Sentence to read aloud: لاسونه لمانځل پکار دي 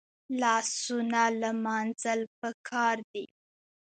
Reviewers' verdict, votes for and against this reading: accepted, 2, 1